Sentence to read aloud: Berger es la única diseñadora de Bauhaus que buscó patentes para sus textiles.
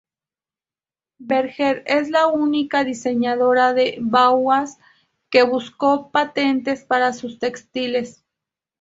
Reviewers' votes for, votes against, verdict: 2, 2, rejected